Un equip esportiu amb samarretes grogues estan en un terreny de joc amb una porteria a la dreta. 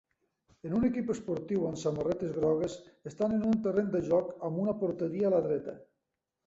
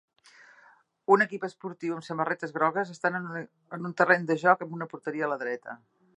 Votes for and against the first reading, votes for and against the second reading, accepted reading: 3, 1, 0, 2, first